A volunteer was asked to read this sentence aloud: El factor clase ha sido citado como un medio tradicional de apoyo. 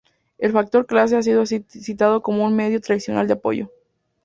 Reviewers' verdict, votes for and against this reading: rejected, 0, 2